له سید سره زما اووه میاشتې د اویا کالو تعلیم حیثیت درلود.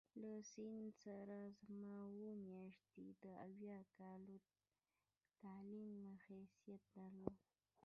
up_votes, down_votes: 1, 2